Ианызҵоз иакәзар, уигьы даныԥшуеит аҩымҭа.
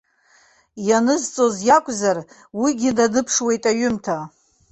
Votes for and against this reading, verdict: 2, 0, accepted